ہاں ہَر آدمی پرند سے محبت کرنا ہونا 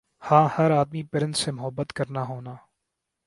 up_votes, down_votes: 3, 0